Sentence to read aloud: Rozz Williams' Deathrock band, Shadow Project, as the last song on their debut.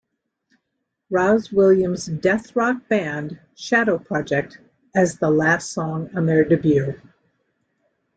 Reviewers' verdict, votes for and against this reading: rejected, 0, 2